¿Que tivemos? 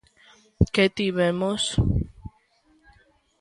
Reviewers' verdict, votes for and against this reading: accepted, 2, 0